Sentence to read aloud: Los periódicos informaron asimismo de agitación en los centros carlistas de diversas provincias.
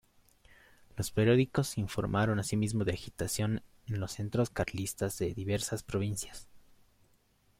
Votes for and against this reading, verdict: 2, 0, accepted